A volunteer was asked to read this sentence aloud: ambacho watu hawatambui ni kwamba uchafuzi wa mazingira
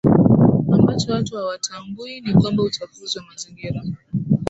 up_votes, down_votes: 3, 1